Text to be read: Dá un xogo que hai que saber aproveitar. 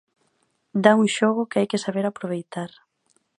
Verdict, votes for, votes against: accepted, 2, 0